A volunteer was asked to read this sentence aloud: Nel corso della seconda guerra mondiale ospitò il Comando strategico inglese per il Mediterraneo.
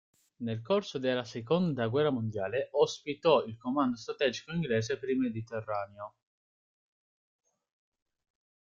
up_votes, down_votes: 2, 0